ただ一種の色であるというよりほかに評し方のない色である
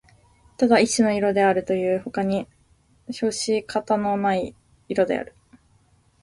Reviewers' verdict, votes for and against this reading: accepted, 2, 0